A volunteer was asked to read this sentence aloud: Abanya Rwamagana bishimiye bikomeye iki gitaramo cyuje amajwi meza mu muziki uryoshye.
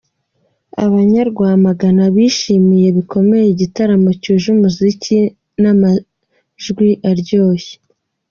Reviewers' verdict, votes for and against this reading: rejected, 0, 2